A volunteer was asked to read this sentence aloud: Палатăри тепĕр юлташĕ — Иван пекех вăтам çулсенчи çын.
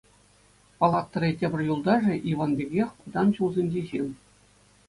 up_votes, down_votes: 2, 0